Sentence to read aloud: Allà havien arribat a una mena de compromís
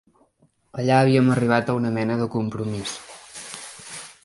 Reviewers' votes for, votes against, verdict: 2, 1, accepted